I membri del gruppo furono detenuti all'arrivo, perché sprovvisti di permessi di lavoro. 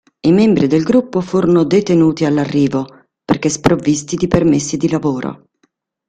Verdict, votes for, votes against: accepted, 2, 0